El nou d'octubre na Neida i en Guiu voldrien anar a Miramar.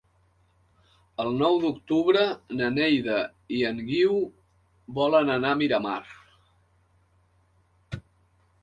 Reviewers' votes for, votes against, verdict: 0, 2, rejected